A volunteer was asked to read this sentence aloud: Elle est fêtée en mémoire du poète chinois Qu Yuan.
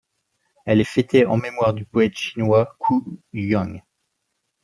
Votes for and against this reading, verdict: 1, 2, rejected